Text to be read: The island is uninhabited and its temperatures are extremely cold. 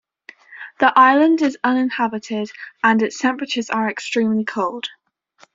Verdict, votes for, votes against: rejected, 0, 2